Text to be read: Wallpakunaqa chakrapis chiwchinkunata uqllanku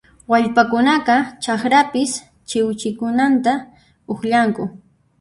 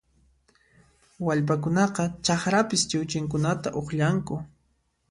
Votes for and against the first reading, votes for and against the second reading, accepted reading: 1, 2, 2, 0, second